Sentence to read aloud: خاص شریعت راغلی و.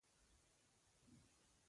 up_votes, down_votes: 0, 2